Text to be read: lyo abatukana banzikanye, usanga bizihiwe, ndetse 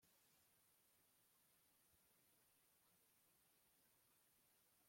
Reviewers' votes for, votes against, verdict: 1, 3, rejected